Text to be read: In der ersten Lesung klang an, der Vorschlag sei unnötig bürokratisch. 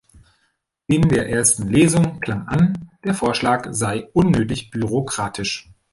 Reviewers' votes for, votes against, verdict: 1, 2, rejected